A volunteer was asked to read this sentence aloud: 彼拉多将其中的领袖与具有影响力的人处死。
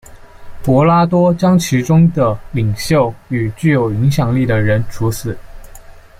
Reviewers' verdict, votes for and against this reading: rejected, 0, 2